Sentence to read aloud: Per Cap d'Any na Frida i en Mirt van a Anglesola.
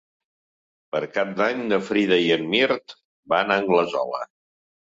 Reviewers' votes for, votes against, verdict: 2, 0, accepted